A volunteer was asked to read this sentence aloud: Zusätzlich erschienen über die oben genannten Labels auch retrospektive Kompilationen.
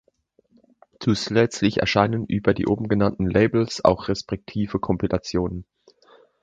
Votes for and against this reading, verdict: 0, 2, rejected